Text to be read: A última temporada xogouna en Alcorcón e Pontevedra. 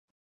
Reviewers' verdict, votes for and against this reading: rejected, 0, 4